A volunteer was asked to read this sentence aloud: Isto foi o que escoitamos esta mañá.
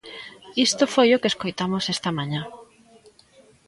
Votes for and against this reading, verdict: 1, 2, rejected